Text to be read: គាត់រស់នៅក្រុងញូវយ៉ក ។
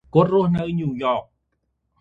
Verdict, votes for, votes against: rejected, 1, 2